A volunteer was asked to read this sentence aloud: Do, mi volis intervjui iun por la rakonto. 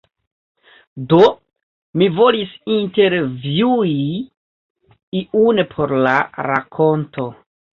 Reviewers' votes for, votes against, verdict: 2, 1, accepted